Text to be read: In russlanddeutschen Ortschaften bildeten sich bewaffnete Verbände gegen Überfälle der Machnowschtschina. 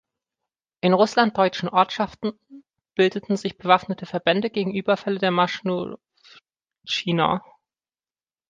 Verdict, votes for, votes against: rejected, 0, 2